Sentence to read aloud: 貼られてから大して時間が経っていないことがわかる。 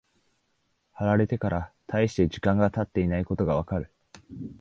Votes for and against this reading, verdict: 2, 0, accepted